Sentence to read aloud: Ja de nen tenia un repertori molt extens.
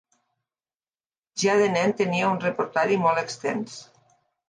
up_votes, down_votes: 1, 2